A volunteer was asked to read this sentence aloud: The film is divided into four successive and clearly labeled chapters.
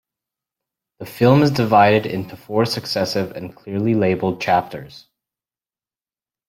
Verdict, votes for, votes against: accepted, 2, 0